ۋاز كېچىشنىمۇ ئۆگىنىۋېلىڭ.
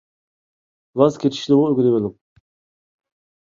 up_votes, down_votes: 1, 2